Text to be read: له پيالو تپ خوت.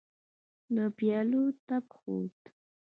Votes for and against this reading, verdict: 2, 0, accepted